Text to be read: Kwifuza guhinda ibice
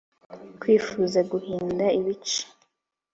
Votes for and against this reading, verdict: 3, 0, accepted